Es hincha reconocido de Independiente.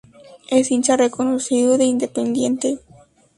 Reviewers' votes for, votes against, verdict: 2, 2, rejected